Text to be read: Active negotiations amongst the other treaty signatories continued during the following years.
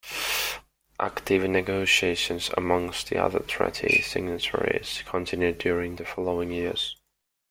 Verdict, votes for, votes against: accepted, 2, 1